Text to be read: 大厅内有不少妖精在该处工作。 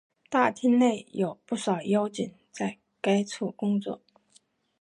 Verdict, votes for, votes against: accepted, 4, 0